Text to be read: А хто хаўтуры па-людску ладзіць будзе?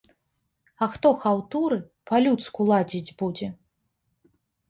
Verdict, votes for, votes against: accepted, 2, 0